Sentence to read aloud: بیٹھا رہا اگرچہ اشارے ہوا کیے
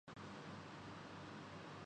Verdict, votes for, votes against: rejected, 0, 3